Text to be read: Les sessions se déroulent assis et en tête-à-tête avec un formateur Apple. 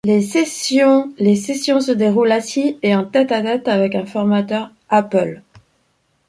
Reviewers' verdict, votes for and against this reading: rejected, 0, 2